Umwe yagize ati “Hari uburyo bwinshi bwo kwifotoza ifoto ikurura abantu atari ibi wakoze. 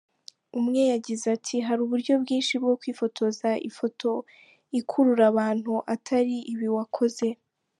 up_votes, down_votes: 3, 0